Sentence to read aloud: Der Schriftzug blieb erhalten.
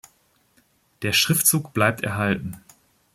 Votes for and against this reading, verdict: 0, 2, rejected